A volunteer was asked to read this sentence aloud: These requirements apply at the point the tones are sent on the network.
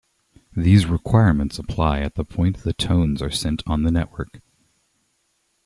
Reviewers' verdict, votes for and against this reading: accepted, 2, 0